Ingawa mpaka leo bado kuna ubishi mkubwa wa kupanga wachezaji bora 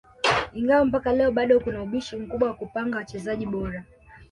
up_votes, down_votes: 2, 1